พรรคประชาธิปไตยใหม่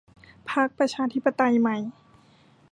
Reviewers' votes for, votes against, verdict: 2, 0, accepted